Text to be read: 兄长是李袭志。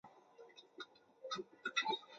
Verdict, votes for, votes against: rejected, 0, 2